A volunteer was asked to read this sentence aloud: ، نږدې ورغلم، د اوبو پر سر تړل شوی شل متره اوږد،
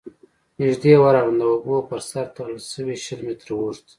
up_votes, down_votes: 1, 2